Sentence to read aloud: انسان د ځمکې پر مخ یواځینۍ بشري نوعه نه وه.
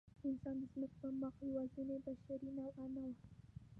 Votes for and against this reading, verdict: 0, 2, rejected